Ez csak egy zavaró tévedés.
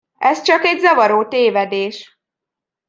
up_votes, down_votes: 2, 0